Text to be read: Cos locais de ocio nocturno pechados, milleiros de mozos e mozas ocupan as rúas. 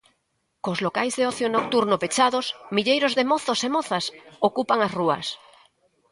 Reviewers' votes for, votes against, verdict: 2, 0, accepted